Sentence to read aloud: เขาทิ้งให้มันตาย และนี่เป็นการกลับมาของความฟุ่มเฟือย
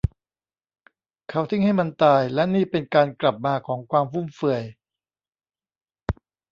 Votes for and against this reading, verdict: 2, 0, accepted